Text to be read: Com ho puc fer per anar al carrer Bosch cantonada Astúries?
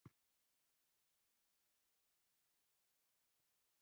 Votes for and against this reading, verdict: 0, 2, rejected